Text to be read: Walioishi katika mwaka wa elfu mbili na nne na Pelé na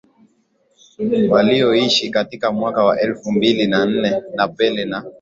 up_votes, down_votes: 2, 0